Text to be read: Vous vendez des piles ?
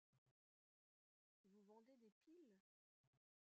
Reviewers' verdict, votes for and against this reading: rejected, 0, 2